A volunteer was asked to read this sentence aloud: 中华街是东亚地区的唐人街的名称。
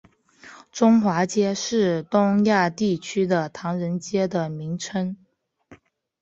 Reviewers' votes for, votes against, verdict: 2, 0, accepted